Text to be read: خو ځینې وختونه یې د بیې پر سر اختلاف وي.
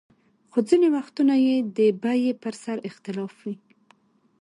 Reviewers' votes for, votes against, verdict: 2, 0, accepted